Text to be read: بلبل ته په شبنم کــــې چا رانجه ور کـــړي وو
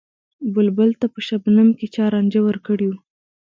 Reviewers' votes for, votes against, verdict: 2, 0, accepted